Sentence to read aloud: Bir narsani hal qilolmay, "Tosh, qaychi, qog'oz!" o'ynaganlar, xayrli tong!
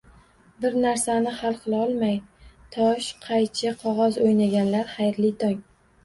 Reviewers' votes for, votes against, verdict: 1, 2, rejected